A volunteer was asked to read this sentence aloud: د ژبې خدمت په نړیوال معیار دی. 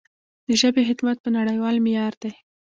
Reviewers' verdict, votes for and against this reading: rejected, 0, 2